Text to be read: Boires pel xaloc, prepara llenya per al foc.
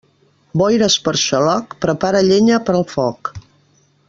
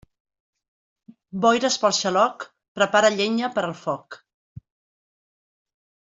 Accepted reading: second